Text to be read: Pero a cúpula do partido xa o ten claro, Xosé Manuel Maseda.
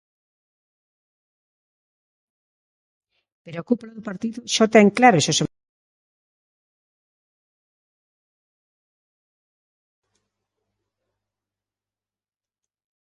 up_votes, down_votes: 0, 2